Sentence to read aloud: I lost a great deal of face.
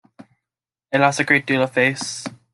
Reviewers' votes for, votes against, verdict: 1, 2, rejected